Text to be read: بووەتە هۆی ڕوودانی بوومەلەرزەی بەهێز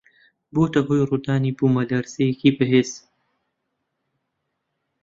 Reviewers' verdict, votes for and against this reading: rejected, 0, 2